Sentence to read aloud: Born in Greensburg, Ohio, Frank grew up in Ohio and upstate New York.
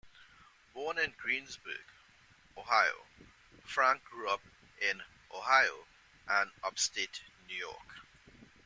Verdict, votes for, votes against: rejected, 1, 2